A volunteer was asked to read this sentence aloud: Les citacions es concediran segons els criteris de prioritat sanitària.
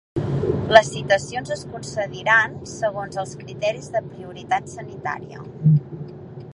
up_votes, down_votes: 0, 2